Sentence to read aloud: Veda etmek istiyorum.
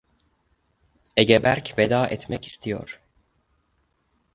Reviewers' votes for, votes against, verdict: 0, 2, rejected